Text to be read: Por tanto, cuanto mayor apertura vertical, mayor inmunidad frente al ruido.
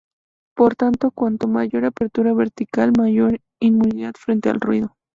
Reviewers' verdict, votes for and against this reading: accepted, 2, 0